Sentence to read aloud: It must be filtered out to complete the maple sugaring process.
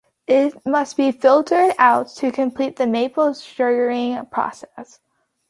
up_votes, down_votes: 2, 0